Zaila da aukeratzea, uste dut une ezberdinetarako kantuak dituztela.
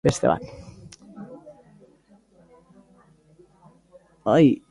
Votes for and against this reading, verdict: 0, 3, rejected